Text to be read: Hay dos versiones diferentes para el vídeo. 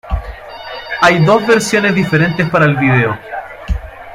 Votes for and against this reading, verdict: 2, 1, accepted